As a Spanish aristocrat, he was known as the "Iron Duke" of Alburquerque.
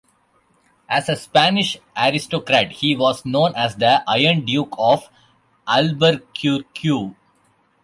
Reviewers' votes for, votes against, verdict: 1, 2, rejected